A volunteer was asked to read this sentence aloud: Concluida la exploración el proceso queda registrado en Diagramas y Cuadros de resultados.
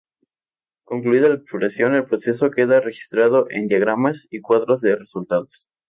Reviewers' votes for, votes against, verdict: 2, 0, accepted